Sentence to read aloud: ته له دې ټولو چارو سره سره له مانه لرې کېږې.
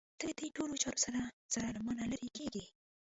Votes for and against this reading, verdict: 1, 2, rejected